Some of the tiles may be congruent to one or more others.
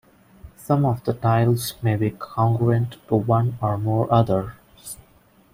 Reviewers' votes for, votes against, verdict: 0, 2, rejected